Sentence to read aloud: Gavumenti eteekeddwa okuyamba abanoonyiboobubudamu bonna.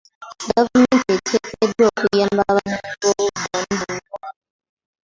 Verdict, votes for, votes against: rejected, 1, 2